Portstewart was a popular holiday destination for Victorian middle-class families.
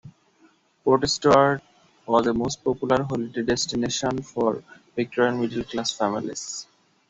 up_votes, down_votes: 0, 2